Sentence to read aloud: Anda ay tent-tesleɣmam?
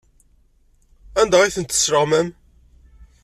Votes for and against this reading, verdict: 2, 0, accepted